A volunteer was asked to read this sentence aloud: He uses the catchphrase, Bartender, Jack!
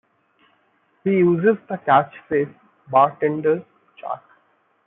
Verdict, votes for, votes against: accepted, 2, 0